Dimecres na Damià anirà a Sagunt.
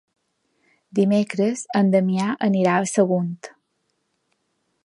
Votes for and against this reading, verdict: 0, 2, rejected